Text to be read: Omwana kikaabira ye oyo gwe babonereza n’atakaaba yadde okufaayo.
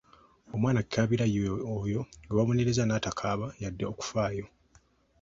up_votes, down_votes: 2, 0